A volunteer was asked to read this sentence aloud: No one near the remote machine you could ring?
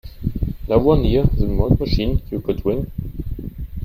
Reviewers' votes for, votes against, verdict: 0, 2, rejected